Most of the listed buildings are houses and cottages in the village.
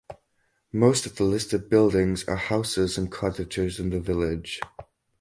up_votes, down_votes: 4, 0